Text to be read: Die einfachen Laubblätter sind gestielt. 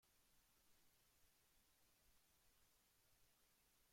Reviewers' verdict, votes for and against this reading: rejected, 0, 2